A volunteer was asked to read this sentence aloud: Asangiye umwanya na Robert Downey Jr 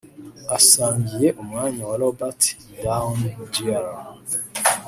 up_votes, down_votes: 1, 2